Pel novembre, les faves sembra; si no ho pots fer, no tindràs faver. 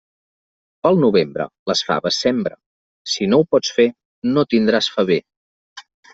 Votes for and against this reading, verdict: 0, 2, rejected